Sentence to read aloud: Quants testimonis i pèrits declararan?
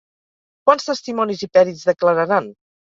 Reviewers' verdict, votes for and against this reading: accepted, 4, 0